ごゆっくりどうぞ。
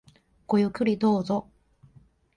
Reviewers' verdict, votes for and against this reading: rejected, 1, 2